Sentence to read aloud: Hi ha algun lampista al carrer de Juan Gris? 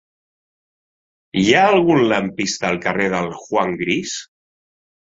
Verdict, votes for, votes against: rejected, 0, 2